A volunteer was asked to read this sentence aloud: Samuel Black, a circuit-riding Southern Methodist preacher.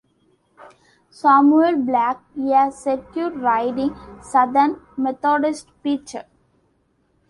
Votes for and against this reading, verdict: 1, 2, rejected